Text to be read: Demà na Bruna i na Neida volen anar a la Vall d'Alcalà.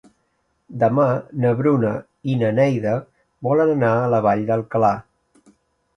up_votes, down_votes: 3, 0